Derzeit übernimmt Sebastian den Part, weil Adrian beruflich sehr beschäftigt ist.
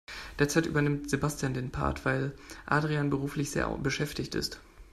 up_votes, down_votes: 1, 2